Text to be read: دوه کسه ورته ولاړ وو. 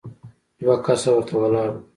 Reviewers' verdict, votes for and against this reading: accepted, 2, 0